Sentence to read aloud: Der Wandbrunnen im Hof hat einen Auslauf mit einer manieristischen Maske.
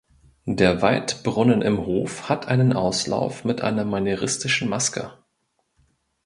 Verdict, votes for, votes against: rejected, 1, 2